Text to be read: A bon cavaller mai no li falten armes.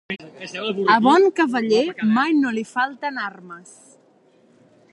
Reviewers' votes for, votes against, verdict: 1, 2, rejected